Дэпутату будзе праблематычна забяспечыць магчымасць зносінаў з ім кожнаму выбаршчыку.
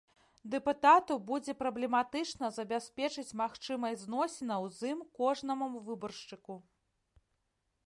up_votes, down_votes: 1, 2